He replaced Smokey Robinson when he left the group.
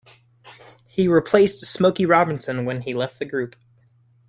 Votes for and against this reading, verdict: 2, 0, accepted